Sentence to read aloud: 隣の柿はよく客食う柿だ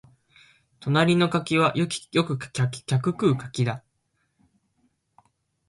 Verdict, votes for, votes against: rejected, 1, 3